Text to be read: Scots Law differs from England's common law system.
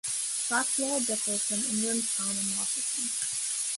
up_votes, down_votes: 1, 2